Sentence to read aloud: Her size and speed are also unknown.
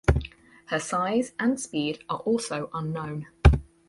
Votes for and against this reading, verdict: 4, 0, accepted